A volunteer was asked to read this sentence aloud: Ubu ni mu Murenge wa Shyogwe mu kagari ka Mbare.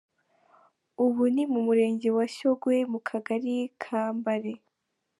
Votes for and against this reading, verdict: 3, 0, accepted